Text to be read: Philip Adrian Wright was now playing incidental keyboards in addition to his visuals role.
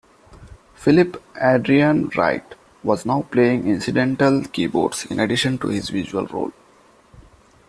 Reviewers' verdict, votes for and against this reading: rejected, 1, 2